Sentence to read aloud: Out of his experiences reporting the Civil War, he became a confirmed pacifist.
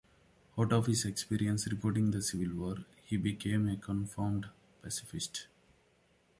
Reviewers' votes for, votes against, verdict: 2, 0, accepted